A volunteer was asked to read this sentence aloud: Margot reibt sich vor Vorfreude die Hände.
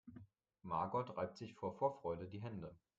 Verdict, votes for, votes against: accepted, 2, 0